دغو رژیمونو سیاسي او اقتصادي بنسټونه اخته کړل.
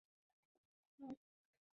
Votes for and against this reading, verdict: 2, 0, accepted